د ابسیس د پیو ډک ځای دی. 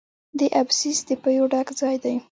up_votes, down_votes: 2, 0